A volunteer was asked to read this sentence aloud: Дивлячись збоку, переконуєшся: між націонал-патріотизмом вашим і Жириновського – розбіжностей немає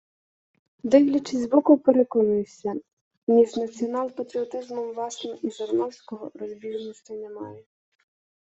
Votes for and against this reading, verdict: 2, 0, accepted